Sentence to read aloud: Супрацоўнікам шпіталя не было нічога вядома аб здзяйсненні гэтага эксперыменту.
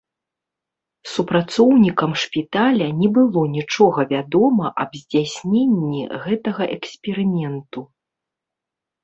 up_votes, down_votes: 2, 0